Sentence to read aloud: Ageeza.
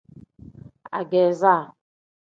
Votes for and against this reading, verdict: 2, 0, accepted